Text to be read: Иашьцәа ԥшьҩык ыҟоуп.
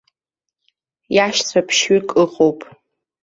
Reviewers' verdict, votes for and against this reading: accepted, 2, 0